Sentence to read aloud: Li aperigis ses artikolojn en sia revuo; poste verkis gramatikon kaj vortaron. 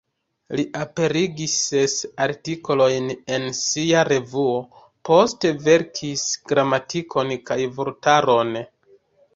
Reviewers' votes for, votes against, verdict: 0, 2, rejected